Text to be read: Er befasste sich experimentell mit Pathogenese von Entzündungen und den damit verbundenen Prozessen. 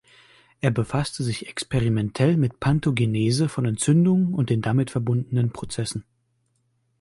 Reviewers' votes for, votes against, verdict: 1, 2, rejected